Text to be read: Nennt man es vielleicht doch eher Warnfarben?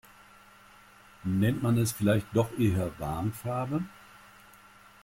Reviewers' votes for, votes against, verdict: 1, 2, rejected